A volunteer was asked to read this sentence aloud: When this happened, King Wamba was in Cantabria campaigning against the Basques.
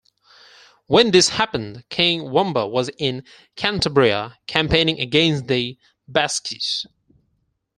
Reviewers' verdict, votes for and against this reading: accepted, 4, 2